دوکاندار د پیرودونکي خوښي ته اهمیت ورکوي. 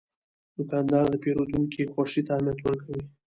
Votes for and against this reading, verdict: 2, 0, accepted